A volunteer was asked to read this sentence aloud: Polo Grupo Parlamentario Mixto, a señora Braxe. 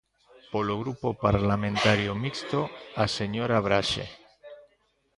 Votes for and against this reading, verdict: 1, 2, rejected